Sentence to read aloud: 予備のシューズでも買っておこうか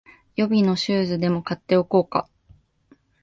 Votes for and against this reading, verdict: 2, 0, accepted